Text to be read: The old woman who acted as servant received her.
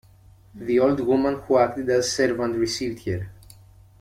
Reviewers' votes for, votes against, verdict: 0, 2, rejected